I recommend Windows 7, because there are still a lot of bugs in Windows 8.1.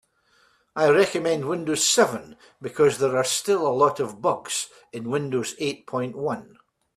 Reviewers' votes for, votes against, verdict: 0, 2, rejected